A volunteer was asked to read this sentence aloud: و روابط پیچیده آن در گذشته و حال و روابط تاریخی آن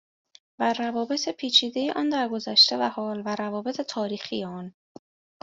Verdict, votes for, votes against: accepted, 2, 0